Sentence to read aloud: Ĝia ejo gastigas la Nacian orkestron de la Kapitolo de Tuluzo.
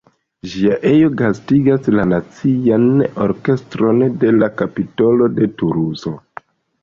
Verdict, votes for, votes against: accepted, 2, 1